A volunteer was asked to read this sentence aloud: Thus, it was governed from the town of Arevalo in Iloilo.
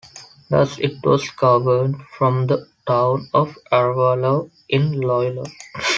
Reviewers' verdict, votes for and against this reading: rejected, 0, 2